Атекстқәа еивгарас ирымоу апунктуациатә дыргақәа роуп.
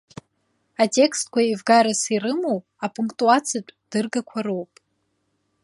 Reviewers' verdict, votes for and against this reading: rejected, 1, 2